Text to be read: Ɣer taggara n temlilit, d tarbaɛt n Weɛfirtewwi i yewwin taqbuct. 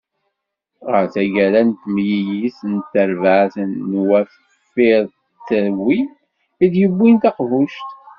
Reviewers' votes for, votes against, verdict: 1, 2, rejected